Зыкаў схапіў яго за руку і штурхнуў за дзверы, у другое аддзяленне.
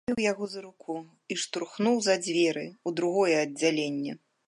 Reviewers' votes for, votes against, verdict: 0, 2, rejected